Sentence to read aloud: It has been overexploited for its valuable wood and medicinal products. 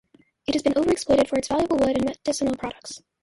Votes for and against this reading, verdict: 0, 2, rejected